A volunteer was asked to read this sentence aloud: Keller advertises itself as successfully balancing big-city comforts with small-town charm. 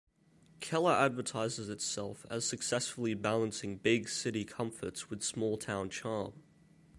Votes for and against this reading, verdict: 2, 0, accepted